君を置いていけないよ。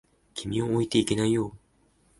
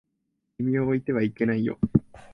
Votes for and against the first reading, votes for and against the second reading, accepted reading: 2, 1, 1, 2, first